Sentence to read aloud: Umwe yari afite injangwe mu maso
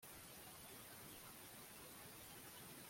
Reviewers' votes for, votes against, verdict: 0, 2, rejected